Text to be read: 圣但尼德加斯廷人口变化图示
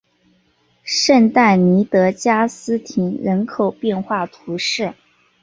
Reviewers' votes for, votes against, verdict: 3, 0, accepted